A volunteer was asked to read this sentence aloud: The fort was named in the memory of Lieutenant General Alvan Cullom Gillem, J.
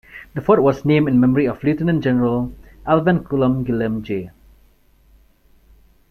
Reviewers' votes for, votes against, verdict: 2, 3, rejected